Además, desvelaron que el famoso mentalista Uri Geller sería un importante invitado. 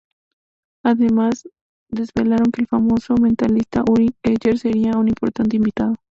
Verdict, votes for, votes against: accepted, 2, 0